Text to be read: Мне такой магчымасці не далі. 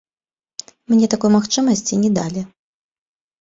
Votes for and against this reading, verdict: 2, 0, accepted